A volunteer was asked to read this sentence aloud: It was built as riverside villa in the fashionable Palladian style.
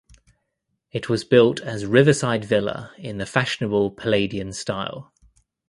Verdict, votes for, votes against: accepted, 2, 0